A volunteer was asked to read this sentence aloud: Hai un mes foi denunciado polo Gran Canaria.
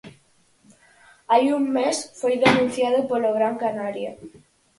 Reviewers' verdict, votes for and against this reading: accepted, 4, 0